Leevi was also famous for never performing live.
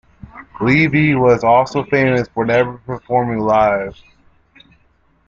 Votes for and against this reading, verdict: 2, 0, accepted